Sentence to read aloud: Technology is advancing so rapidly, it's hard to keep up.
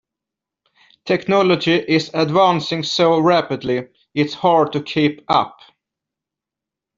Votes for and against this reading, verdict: 2, 0, accepted